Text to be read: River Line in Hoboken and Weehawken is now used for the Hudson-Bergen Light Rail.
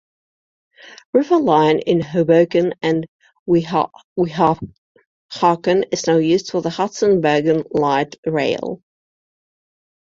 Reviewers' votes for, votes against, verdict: 1, 2, rejected